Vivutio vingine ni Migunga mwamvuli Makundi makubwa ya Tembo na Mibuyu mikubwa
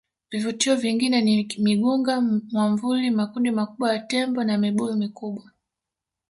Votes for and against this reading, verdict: 2, 0, accepted